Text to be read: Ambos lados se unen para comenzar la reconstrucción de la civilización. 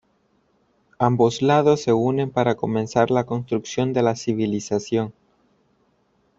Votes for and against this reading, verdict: 0, 2, rejected